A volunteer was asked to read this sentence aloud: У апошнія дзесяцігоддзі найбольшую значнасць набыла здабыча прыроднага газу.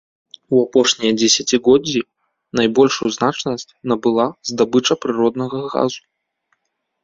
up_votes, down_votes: 2, 0